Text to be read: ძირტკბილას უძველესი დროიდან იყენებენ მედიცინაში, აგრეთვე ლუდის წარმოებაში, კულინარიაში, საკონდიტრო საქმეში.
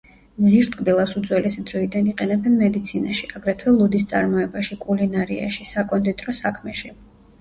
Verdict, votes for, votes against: accepted, 2, 0